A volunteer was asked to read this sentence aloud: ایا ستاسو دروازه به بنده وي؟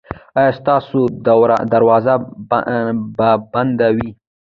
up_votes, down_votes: 2, 0